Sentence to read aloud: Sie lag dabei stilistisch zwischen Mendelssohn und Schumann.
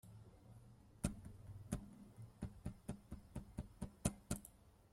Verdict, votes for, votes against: rejected, 0, 2